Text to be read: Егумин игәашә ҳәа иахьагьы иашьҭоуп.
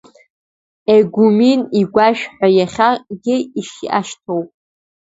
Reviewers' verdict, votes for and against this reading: rejected, 0, 2